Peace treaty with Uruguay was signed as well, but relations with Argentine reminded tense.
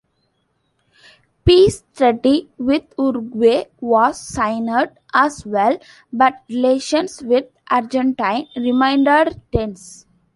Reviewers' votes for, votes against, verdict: 1, 2, rejected